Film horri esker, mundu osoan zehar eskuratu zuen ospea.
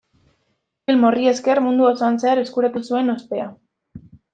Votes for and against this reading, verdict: 0, 2, rejected